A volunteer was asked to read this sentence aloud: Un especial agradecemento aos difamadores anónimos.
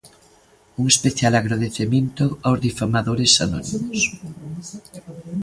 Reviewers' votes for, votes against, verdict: 0, 2, rejected